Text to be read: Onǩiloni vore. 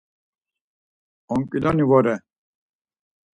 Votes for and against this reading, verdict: 4, 0, accepted